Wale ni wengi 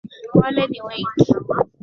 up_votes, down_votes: 1, 2